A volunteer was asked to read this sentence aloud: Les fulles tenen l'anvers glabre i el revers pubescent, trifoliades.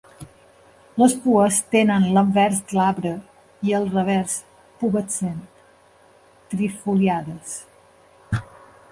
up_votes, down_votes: 0, 2